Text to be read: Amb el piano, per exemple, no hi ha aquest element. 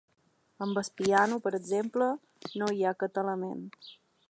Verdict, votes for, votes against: accepted, 2, 0